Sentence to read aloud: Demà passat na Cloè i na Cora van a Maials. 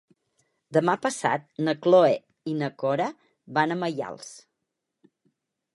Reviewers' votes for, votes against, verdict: 2, 4, rejected